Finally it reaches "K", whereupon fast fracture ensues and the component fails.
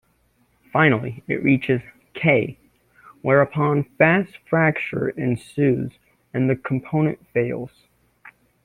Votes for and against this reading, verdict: 2, 0, accepted